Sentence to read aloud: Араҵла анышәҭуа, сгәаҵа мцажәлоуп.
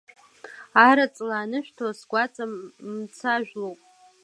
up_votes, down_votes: 2, 1